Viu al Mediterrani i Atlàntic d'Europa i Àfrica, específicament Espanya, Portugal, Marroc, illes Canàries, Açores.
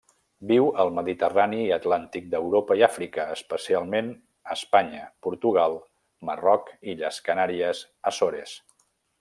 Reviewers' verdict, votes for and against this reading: rejected, 1, 2